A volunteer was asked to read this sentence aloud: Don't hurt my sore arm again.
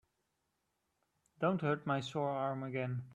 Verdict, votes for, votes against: accepted, 2, 0